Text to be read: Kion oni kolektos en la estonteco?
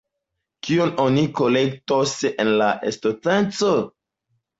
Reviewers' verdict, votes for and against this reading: rejected, 0, 2